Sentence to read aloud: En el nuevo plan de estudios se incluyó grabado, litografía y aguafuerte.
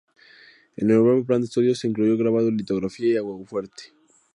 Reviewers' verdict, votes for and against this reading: rejected, 0, 2